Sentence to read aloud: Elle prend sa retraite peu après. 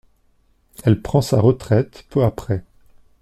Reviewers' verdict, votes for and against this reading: accepted, 2, 0